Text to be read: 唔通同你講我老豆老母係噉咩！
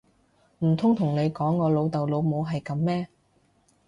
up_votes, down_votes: 3, 0